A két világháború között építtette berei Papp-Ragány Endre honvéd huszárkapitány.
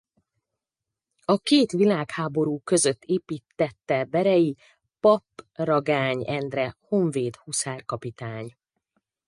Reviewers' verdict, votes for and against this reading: rejected, 2, 2